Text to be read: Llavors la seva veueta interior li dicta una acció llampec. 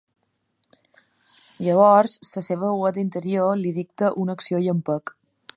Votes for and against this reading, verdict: 1, 2, rejected